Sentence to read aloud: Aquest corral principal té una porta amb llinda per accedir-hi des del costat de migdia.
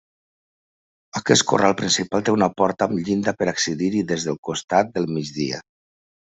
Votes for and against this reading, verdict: 2, 1, accepted